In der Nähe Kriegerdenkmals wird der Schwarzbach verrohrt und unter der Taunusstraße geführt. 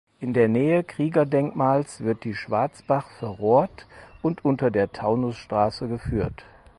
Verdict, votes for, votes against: rejected, 2, 4